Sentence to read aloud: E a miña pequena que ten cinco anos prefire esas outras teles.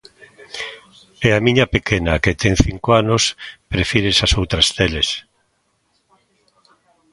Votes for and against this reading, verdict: 2, 0, accepted